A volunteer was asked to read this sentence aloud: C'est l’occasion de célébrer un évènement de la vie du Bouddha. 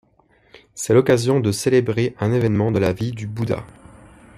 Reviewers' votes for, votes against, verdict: 2, 0, accepted